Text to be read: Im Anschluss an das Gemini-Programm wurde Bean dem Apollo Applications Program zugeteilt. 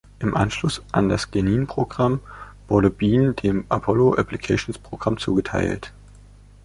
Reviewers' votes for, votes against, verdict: 0, 2, rejected